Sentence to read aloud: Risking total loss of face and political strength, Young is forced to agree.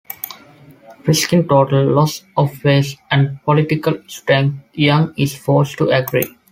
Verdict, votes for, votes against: accepted, 2, 0